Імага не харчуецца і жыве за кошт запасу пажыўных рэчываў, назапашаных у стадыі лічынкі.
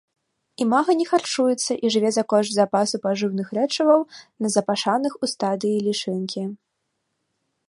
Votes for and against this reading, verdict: 0, 2, rejected